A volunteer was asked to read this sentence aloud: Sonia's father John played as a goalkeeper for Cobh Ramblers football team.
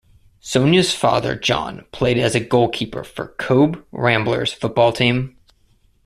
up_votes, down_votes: 2, 1